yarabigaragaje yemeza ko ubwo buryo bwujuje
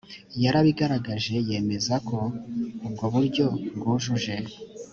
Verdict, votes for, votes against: accepted, 2, 0